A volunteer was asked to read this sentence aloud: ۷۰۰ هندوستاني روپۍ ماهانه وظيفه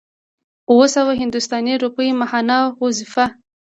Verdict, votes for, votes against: rejected, 0, 2